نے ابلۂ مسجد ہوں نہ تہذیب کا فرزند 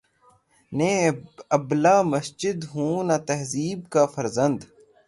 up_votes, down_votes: 0, 3